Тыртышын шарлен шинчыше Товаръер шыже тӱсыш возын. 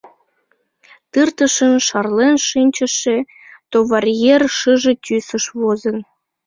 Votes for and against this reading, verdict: 2, 0, accepted